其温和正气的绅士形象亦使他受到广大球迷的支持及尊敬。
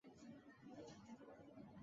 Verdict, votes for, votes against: rejected, 0, 5